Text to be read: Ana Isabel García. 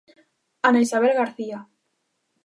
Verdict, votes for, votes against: accepted, 2, 0